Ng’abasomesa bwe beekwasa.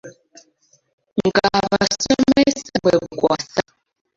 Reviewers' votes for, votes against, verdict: 0, 2, rejected